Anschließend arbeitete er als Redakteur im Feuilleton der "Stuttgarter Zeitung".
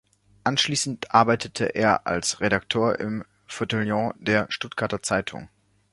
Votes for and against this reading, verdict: 1, 2, rejected